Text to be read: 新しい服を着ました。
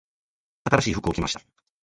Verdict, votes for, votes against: rejected, 1, 2